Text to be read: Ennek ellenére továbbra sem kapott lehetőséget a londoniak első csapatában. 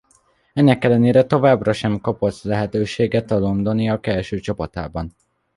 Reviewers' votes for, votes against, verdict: 1, 2, rejected